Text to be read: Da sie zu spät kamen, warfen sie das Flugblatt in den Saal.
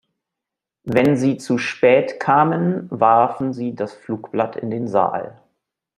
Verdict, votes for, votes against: rejected, 1, 3